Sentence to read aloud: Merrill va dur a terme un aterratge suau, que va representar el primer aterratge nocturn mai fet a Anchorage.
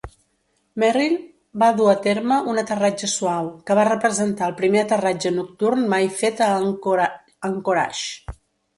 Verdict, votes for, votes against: rejected, 1, 2